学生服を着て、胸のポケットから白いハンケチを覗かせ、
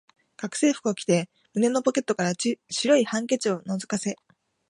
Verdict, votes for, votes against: rejected, 1, 2